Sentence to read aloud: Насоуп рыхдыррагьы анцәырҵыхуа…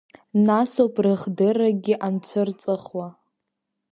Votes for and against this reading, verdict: 0, 2, rejected